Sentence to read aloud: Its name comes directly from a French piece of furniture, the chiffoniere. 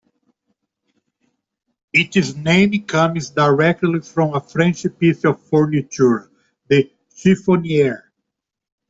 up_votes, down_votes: 2, 0